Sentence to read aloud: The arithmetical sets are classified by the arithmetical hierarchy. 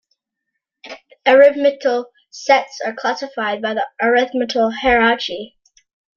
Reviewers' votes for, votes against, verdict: 0, 2, rejected